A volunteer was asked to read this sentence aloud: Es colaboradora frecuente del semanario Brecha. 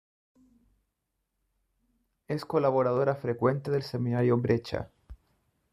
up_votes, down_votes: 1, 2